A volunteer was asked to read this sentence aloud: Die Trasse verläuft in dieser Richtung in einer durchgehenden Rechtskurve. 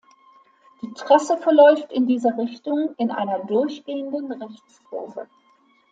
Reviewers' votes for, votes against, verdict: 2, 0, accepted